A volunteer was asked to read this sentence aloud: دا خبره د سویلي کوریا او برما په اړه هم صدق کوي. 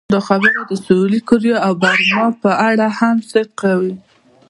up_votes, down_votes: 1, 2